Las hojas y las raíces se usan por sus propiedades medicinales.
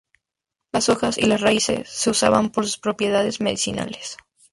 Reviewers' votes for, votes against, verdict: 2, 0, accepted